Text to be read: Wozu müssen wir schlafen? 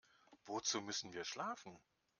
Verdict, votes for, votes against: accepted, 2, 0